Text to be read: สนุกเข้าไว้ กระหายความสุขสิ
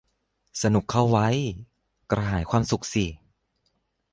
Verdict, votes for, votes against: accepted, 2, 0